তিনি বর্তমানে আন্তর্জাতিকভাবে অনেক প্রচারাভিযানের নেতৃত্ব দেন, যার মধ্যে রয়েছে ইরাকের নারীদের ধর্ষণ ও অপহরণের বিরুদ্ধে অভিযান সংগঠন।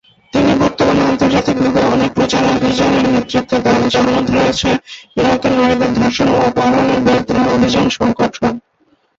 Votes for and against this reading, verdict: 0, 3, rejected